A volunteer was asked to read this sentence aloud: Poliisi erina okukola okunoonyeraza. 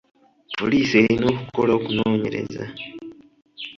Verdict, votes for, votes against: rejected, 1, 2